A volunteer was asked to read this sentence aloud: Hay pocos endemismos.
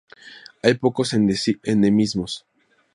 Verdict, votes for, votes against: rejected, 0, 2